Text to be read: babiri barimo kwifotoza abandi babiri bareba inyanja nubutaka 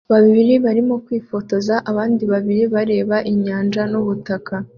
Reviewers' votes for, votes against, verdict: 2, 0, accepted